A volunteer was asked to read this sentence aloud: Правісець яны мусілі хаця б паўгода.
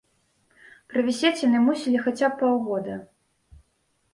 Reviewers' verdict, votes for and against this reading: rejected, 1, 2